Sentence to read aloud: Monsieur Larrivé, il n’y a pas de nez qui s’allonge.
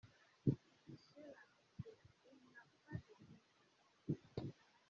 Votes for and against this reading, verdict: 0, 2, rejected